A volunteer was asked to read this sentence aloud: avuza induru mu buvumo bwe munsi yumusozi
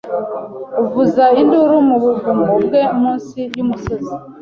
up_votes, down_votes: 2, 0